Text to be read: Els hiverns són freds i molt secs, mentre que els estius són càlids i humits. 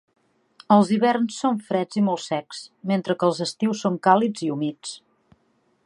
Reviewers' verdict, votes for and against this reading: accepted, 3, 0